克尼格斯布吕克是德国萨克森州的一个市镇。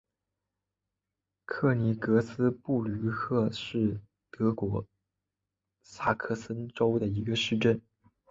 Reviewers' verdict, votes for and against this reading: accepted, 9, 0